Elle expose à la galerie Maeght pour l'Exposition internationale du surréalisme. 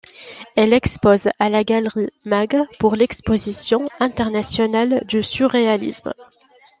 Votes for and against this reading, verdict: 3, 1, accepted